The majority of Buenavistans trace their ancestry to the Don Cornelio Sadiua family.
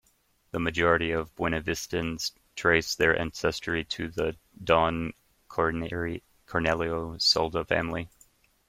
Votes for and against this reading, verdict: 0, 2, rejected